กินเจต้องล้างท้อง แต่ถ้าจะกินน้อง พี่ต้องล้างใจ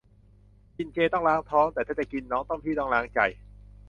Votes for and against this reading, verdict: 0, 2, rejected